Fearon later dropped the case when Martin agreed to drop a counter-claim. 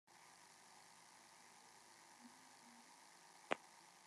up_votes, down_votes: 0, 2